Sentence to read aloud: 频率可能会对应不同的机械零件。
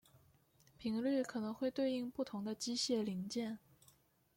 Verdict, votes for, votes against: accepted, 2, 0